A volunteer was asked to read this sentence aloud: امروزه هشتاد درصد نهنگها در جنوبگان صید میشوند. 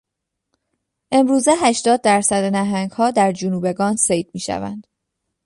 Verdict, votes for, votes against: accepted, 2, 0